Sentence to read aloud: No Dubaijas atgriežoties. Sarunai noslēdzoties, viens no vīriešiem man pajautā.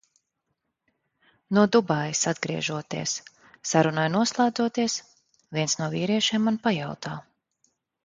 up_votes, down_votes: 2, 0